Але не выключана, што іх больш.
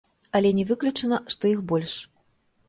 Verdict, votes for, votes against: accepted, 2, 0